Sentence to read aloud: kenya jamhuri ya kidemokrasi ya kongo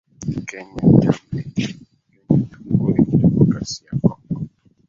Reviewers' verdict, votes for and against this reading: rejected, 0, 2